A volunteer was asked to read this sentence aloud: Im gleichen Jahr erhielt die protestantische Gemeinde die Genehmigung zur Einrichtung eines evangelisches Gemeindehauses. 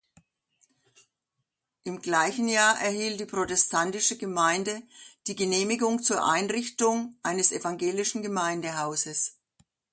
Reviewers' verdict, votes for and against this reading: accepted, 2, 0